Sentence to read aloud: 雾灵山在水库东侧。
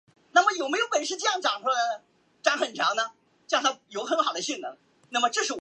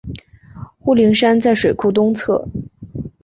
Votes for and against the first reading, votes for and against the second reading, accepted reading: 0, 2, 2, 0, second